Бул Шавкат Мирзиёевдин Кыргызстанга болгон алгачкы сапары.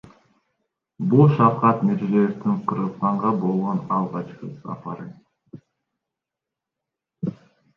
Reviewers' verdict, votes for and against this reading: accepted, 2, 1